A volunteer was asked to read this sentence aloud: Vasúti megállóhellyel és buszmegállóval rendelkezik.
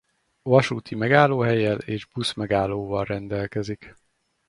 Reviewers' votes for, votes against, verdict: 4, 0, accepted